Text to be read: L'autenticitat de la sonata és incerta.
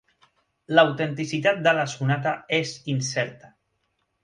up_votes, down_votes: 3, 0